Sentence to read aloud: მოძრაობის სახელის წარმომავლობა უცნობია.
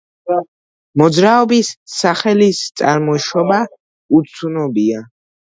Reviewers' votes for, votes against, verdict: 0, 2, rejected